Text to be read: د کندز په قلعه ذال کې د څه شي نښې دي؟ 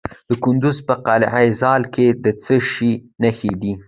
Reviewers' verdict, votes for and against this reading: accepted, 2, 0